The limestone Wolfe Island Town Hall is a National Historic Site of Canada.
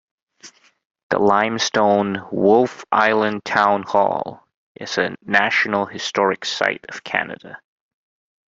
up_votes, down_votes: 2, 0